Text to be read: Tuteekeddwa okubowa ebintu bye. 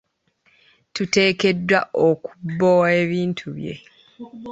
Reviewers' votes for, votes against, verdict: 1, 2, rejected